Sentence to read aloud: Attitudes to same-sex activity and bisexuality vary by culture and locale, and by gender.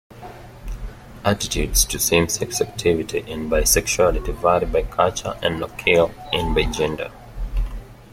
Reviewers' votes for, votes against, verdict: 2, 0, accepted